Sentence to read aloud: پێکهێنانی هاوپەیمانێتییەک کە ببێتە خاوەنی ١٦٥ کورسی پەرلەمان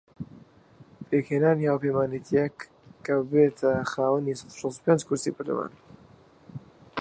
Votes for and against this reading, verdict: 0, 2, rejected